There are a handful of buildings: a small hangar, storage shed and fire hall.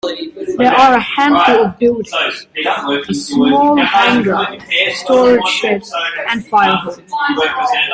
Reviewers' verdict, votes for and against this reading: rejected, 1, 2